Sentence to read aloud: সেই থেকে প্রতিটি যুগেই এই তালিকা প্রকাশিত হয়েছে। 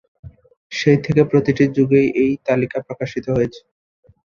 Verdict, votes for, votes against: accepted, 2, 0